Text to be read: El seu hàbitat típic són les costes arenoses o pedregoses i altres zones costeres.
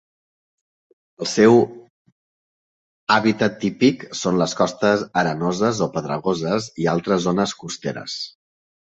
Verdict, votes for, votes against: rejected, 0, 2